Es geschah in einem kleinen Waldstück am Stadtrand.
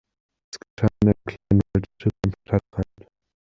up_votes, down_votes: 0, 2